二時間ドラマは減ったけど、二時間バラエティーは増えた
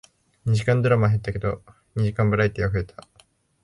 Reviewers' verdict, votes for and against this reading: accepted, 2, 0